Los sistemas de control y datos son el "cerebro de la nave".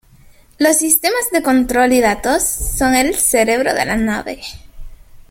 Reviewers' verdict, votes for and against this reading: rejected, 0, 2